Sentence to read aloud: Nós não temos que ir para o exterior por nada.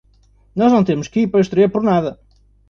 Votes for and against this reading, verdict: 1, 2, rejected